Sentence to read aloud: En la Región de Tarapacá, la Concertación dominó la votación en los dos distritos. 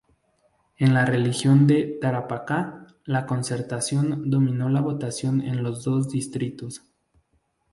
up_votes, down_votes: 0, 2